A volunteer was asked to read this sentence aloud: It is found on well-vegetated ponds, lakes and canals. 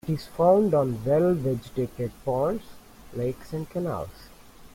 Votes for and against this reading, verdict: 2, 0, accepted